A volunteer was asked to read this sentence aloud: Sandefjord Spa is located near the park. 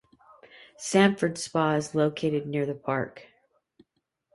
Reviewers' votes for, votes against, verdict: 2, 0, accepted